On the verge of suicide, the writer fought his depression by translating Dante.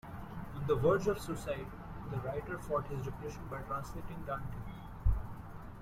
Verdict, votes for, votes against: rejected, 1, 2